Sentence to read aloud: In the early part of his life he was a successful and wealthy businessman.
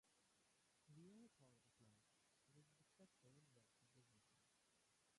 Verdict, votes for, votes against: rejected, 0, 2